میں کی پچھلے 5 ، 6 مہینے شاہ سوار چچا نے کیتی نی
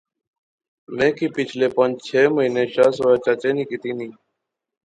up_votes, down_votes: 0, 2